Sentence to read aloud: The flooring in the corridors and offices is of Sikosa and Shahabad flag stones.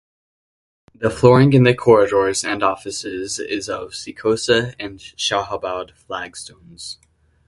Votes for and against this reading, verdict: 2, 0, accepted